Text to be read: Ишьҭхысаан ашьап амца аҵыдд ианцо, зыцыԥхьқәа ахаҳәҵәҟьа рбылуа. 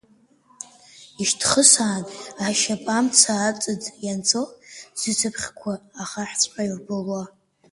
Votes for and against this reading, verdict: 0, 2, rejected